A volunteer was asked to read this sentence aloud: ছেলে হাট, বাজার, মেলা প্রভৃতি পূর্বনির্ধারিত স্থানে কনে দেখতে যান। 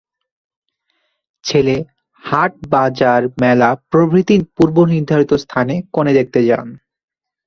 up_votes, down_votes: 1, 2